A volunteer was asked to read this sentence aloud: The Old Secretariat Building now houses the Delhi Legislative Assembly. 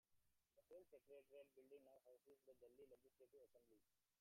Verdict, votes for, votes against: rejected, 0, 2